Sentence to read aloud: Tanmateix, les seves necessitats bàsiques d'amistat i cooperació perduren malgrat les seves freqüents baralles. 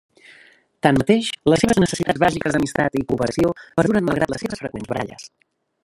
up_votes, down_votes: 1, 2